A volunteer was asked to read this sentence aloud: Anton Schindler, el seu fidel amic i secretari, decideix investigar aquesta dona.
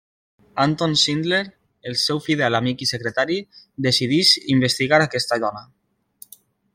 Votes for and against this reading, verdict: 2, 1, accepted